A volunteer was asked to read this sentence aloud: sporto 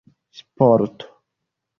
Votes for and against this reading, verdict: 2, 1, accepted